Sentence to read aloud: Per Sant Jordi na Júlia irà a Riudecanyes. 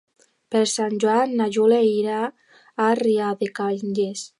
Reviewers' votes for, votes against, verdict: 0, 2, rejected